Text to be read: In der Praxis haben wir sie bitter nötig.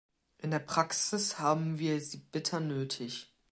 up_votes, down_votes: 0, 2